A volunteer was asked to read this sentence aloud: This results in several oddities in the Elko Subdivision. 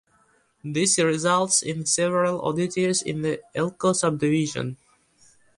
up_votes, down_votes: 2, 0